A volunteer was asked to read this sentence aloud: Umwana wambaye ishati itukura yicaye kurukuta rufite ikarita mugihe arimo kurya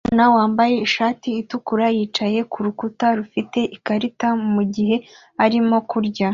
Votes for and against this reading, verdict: 2, 0, accepted